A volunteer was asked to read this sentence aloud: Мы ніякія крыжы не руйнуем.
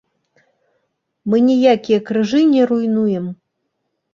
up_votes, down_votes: 2, 0